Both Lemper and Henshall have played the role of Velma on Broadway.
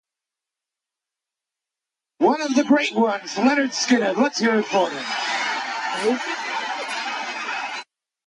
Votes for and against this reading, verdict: 0, 2, rejected